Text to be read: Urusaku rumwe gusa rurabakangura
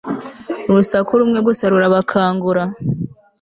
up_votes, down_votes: 2, 0